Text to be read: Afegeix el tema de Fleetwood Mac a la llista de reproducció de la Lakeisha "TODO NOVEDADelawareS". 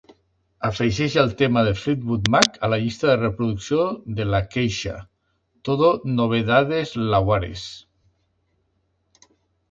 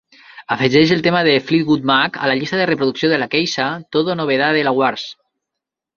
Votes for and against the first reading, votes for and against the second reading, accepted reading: 1, 3, 2, 1, second